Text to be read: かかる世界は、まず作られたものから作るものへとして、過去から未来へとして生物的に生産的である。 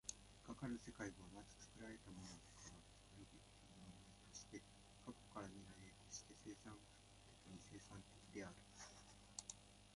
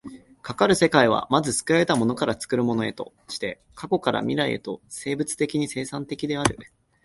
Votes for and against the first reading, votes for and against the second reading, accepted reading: 0, 2, 3, 0, second